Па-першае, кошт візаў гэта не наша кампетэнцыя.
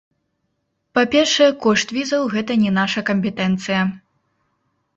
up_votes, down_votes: 1, 2